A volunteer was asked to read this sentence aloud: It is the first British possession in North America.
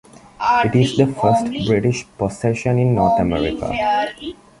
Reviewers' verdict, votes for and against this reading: rejected, 0, 2